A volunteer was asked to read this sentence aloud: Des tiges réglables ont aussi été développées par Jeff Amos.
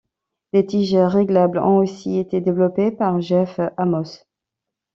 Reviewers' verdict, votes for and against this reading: rejected, 1, 2